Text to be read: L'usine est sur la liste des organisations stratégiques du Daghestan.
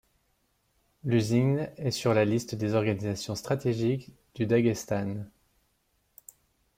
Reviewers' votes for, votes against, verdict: 0, 2, rejected